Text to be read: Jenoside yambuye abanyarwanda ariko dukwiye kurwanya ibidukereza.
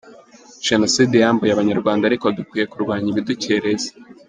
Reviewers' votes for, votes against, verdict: 3, 0, accepted